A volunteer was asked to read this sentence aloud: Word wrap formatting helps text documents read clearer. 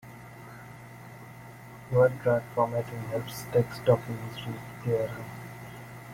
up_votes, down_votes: 1, 2